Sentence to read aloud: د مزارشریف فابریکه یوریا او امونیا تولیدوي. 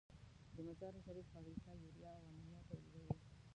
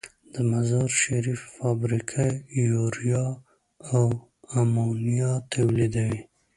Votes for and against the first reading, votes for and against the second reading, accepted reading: 0, 2, 2, 0, second